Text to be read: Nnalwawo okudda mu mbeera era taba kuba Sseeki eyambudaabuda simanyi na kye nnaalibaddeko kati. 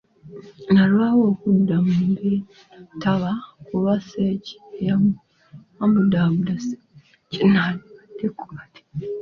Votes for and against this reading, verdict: 0, 2, rejected